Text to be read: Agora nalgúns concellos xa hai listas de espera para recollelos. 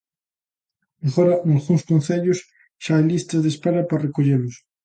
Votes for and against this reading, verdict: 2, 0, accepted